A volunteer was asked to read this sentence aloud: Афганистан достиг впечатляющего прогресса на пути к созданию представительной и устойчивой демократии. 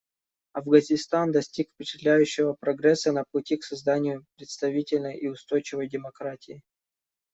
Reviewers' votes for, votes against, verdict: 1, 2, rejected